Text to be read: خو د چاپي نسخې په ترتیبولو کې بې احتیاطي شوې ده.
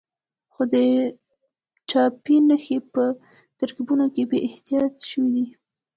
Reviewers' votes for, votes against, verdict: 1, 2, rejected